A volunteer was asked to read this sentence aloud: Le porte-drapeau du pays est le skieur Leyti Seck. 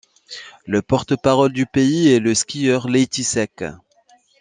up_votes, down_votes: 2, 0